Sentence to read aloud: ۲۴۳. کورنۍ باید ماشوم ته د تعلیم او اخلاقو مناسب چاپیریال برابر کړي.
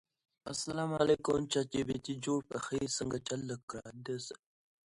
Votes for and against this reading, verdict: 0, 2, rejected